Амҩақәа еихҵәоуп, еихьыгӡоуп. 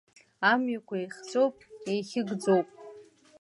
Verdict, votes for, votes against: accepted, 2, 0